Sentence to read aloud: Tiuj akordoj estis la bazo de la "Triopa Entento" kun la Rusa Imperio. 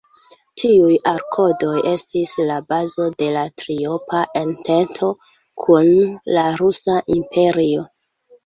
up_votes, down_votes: 1, 2